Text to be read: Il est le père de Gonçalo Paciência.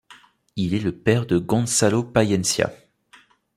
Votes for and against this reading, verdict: 1, 2, rejected